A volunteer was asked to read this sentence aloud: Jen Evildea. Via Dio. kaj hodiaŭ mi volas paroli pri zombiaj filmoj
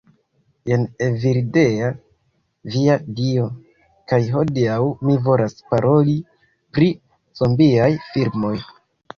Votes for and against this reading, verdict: 1, 2, rejected